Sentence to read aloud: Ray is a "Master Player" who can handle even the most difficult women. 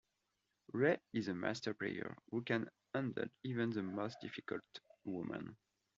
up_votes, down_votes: 2, 0